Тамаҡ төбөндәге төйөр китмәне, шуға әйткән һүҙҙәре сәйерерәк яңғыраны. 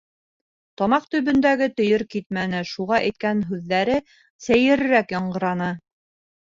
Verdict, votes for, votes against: rejected, 0, 2